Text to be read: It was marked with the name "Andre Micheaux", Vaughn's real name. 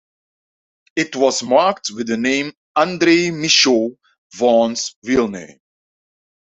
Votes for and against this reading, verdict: 2, 0, accepted